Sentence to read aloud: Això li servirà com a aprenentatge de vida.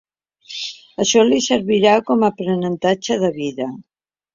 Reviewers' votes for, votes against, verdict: 3, 0, accepted